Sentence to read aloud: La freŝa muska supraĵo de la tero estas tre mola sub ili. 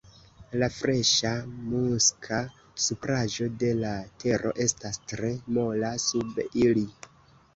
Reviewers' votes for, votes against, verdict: 2, 0, accepted